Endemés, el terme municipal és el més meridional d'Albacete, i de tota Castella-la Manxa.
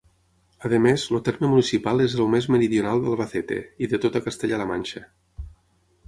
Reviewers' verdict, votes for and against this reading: rejected, 0, 6